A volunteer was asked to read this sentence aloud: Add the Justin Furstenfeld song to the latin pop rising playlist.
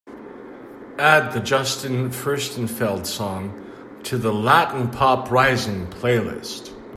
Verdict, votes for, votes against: accepted, 2, 0